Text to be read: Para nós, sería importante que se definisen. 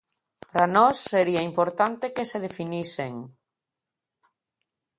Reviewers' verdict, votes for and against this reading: accepted, 2, 0